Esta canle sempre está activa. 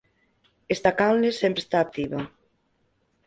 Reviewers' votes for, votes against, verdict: 4, 0, accepted